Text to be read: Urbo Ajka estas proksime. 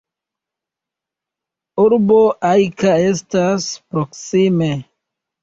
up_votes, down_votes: 1, 2